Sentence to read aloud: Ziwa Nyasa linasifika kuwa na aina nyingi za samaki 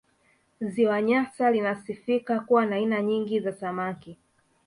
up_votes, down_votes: 3, 0